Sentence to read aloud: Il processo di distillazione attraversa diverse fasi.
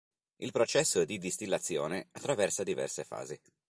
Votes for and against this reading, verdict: 3, 0, accepted